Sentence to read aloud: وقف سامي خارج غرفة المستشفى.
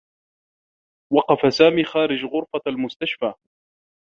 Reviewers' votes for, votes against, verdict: 1, 2, rejected